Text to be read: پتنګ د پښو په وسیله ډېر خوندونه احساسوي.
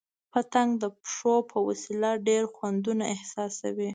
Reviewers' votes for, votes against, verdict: 2, 0, accepted